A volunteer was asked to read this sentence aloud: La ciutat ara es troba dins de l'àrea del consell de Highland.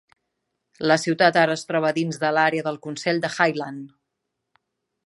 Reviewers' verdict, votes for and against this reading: accepted, 3, 0